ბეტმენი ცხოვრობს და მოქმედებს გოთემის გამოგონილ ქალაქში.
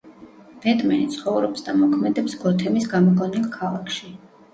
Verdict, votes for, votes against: accepted, 2, 0